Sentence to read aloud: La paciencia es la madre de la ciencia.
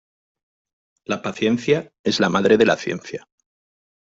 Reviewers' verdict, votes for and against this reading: accepted, 2, 0